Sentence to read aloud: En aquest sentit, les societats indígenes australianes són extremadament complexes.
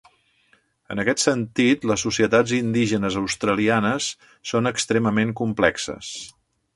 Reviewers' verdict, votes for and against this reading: rejected, 0, 2